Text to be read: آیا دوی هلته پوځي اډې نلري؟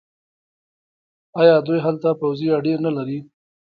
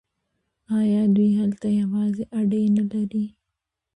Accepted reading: second